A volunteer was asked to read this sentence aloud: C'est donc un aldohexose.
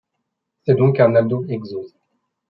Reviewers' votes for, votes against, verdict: 1, 2, rejected